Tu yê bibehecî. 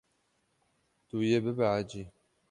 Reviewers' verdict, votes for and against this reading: rejected, 0, 6